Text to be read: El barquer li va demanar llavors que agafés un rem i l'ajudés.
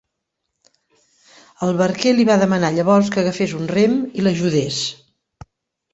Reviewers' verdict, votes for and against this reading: accepted, 4, 0